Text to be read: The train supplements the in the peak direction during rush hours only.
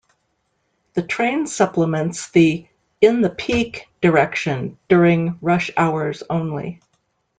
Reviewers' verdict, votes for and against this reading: accepted, 2, 0